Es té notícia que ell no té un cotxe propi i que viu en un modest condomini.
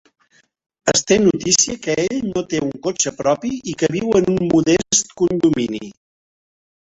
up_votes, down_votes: 3, 1